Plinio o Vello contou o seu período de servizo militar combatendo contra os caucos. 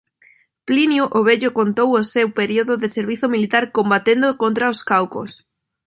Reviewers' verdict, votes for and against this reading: accepted, 2, 0